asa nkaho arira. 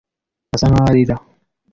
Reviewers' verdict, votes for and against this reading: accepted, 2, 0